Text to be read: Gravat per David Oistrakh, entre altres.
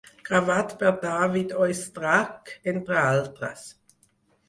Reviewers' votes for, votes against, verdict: 2, 4, rejected